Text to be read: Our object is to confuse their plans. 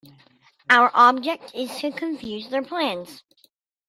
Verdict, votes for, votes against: accepted, 2, 0